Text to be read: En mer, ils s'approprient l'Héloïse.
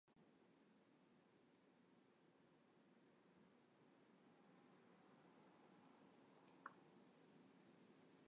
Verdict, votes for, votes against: rejected, 0, 2